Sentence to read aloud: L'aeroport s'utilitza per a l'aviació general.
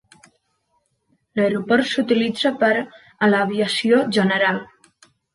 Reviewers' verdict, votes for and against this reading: rejected, 1, 2